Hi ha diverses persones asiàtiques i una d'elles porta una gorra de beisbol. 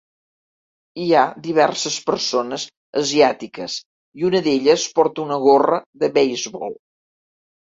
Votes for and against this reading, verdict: 2, 0, accepted